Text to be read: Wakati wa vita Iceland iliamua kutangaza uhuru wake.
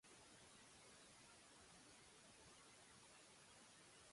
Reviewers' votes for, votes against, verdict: 0, 2, rejected